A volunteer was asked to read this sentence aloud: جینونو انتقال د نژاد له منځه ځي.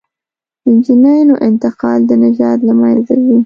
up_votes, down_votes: 1, 2